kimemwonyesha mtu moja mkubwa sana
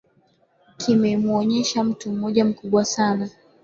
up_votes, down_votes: 13, 4